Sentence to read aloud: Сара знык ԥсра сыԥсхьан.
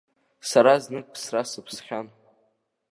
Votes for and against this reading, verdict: 2, 0, accepted